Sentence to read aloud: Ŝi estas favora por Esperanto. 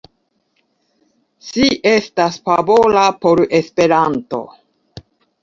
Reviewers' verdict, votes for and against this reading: accepted, 2, 0